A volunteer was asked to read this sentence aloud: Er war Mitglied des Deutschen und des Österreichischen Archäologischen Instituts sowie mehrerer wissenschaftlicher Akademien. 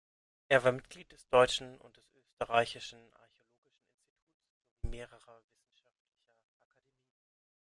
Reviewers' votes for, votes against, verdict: 0, 2, rejected